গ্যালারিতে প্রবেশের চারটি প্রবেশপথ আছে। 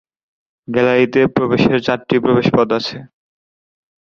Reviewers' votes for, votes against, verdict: 3, 0, accepted